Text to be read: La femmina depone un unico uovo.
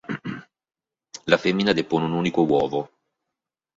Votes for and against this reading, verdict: 4, 0, accepted